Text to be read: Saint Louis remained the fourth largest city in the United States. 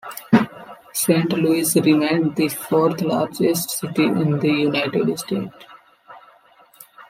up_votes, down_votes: 0, 2